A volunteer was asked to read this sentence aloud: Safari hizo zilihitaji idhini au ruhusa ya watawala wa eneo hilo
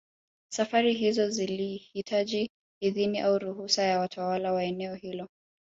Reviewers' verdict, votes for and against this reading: rejected, 1, 2